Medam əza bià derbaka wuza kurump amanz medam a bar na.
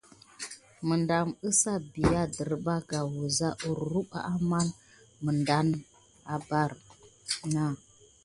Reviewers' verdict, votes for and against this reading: accepted, 2, 0